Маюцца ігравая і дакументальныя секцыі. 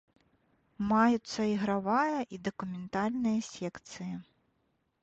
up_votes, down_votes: 2, 0